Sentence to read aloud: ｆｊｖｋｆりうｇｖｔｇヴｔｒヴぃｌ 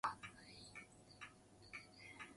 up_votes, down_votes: 0, 2